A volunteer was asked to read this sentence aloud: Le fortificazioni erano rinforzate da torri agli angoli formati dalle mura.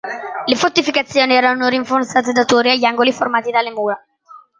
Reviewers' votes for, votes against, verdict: 2, 0, accepted